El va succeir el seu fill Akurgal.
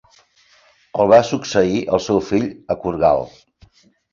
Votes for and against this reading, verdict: 2, 0, accepted